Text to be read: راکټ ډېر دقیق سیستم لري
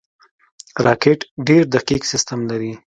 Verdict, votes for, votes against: accepted, 2, 0